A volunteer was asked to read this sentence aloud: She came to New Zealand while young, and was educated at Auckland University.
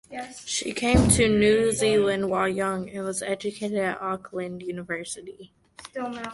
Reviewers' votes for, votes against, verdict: 2, 1, accepted